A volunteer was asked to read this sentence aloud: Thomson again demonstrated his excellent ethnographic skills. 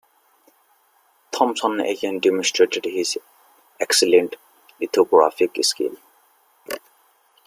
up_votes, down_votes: 0, 2